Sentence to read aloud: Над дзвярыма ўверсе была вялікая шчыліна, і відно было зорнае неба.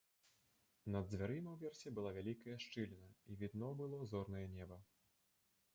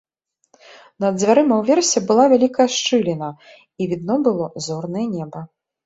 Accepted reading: second